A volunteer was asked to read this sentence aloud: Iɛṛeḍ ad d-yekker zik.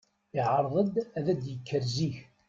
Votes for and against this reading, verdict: 2, 0, accepted